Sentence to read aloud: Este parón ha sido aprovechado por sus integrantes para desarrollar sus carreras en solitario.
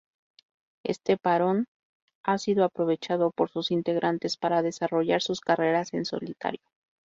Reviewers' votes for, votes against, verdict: 2, 0, accepted